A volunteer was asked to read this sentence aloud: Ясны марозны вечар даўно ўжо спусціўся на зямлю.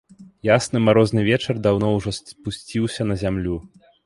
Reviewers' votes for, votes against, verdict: 1, 2, rejected